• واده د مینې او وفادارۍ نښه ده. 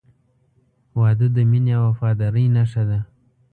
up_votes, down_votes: 2, 0